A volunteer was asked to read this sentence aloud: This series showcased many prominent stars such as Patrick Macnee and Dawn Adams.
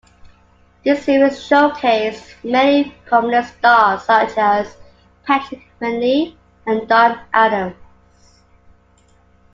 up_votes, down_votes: 1, 2